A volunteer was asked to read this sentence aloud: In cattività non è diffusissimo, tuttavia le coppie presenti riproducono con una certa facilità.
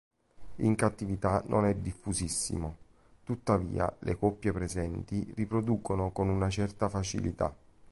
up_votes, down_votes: 2, 0